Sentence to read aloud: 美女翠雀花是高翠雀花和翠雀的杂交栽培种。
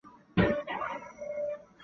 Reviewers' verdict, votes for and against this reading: rejected, 0, 2